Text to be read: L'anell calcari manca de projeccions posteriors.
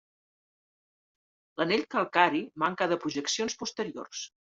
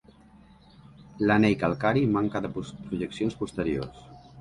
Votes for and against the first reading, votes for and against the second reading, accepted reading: 3, 0, 1, 2, first